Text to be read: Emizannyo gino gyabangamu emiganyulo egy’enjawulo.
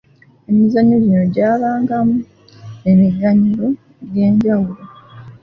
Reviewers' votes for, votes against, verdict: 2, 1, accepted